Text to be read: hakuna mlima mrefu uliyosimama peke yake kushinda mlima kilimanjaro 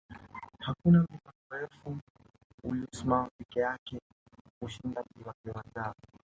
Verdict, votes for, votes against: rejected, 1, 3